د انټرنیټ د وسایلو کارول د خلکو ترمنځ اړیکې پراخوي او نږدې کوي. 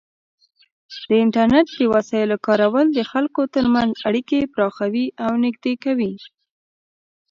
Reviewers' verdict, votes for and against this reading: rejected, 1, 2